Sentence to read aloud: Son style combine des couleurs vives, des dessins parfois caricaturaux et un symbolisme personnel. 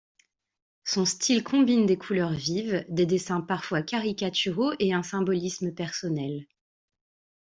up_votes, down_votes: 2, 0